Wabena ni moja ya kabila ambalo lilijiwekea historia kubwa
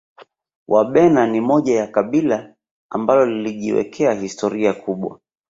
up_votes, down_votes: 2, 0